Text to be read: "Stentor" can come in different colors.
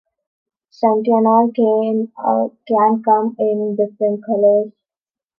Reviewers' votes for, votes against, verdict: 0, 2, rejected